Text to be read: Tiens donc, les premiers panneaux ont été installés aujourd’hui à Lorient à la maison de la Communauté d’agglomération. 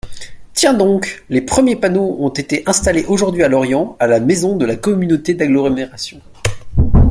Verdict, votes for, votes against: rejected, 0, 2